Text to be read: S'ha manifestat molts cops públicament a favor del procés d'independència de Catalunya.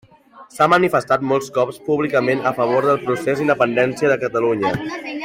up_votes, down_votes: 2, 1